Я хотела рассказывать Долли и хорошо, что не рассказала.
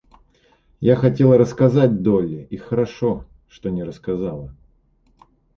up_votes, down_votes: 0, 2